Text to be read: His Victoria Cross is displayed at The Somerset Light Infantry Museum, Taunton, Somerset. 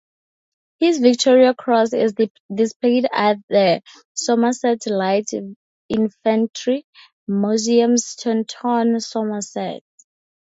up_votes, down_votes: 0, 2